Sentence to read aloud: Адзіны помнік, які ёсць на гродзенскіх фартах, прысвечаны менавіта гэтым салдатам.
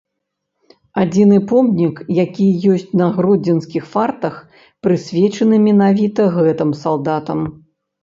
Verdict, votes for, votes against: rejected, 0, 2